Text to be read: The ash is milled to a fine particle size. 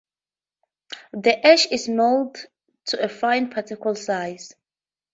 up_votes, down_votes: 0, 2